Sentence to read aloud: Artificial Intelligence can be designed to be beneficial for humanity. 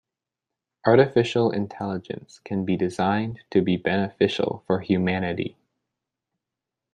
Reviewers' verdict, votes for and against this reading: accepted, 2, 0